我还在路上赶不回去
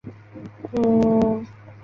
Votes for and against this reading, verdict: 1, 4, rejected